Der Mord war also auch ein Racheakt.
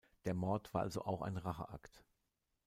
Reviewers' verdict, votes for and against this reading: accepted, 2, 0